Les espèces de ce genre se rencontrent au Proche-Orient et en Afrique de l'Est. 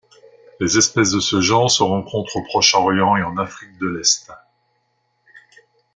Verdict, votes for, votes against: accepted, 3, 0